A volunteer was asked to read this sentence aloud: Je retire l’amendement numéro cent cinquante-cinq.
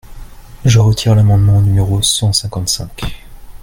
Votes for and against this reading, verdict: 2, 0, accepted